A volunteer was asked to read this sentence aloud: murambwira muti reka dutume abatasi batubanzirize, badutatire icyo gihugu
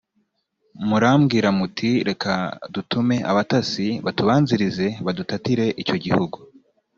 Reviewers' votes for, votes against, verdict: 2, 0, accepted